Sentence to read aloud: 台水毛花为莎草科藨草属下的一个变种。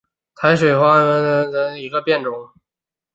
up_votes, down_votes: 2, 5